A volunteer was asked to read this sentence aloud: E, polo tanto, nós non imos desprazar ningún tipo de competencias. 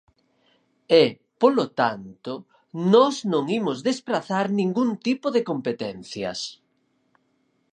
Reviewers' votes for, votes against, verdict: 4, 0, accepted